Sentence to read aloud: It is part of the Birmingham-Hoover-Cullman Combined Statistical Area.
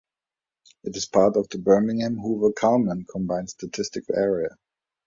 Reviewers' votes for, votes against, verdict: 1, 2, rejected